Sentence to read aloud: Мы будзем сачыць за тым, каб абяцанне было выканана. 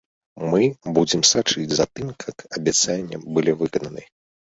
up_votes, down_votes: 0, 2